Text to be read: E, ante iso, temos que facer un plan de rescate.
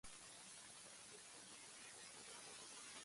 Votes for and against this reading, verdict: 0, 2, rejected